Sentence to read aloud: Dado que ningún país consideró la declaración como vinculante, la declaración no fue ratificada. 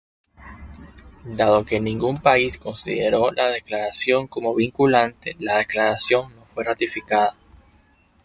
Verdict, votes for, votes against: accepted, 2, 0